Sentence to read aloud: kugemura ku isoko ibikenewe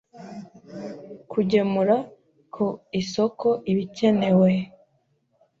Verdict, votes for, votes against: accepted, 2, 0